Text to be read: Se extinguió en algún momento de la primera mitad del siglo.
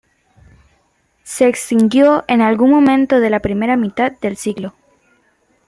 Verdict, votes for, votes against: accepted, 2, 0